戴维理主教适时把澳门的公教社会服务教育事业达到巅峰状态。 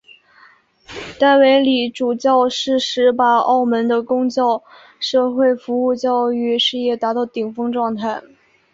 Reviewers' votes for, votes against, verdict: 0, 2, rejected